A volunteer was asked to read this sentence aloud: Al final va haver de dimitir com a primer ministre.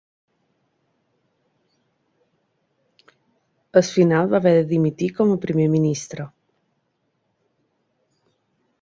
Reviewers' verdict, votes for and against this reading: rejected, 0, 2